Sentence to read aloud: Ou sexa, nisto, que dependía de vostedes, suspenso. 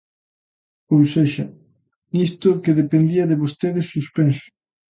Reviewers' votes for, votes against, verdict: 2, 0, accepted